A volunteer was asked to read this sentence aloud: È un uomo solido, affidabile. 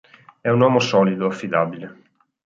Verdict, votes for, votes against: accepted, 4, 0